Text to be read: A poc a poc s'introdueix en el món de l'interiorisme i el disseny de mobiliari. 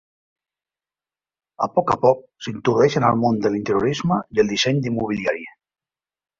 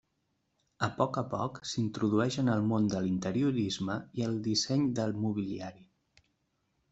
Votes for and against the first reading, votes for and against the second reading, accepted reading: 1, 2, 2, 0, second